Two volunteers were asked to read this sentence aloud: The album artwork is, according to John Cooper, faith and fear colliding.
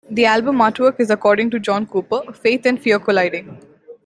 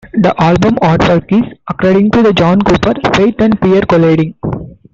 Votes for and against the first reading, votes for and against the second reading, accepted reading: 2, 0, 1, 2, first